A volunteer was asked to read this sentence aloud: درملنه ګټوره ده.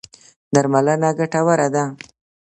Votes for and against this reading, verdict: 2, 0, accepted